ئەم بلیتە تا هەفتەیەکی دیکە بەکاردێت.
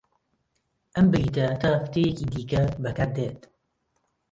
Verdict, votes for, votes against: rejected, 1, 2